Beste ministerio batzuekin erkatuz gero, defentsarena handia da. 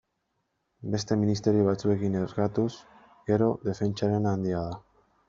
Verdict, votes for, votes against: rejected, 0, 2